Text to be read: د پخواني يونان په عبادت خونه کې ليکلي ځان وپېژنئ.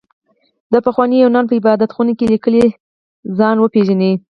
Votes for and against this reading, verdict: 4, 2, accepted